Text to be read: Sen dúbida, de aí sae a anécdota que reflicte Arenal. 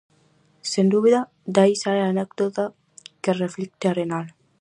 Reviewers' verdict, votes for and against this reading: accepted, 4, 0